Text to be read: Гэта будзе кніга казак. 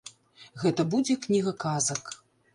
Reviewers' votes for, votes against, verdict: 2, 0, accepted